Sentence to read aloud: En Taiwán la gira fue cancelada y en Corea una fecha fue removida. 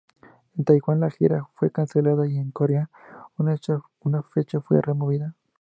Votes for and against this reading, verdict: 0, 4, rejected